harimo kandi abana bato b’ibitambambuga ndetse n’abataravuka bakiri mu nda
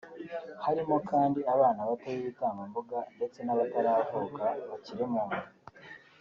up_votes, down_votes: 4, 0